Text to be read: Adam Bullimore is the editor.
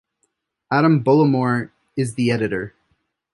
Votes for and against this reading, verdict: 2, 0, accepted